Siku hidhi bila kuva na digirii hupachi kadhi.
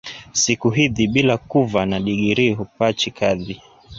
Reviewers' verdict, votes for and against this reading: rejected, 0, 2